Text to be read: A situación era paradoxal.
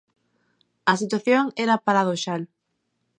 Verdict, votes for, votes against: rejected, 1, 2